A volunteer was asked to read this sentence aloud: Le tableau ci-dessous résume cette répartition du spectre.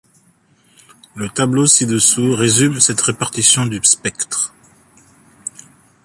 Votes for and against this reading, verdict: 3, 0, accepted